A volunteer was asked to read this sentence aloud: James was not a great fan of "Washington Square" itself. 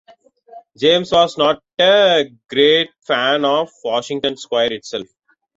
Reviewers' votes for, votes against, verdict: 2, 0, accepted